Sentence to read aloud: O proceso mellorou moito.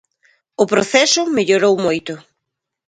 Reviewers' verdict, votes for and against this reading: accepted, 2, 0